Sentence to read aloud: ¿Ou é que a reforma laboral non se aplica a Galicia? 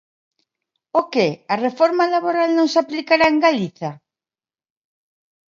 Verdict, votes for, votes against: rejected, 0, 2